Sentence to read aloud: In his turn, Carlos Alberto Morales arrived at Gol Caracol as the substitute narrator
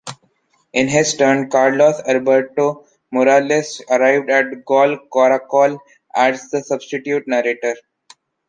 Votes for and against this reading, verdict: 1, 2, rejected